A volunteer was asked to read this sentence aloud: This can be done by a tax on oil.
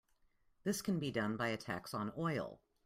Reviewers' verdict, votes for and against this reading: accepted, 2, 0